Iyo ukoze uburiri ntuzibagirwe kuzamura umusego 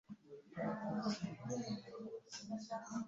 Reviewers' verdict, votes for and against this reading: rejected, 0, 2